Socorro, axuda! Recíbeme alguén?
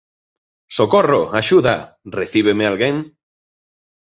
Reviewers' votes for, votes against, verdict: 2, 0, accepted